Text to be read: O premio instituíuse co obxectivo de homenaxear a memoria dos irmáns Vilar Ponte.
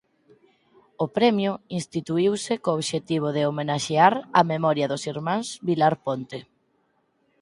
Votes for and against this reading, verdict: 4, 0, accepted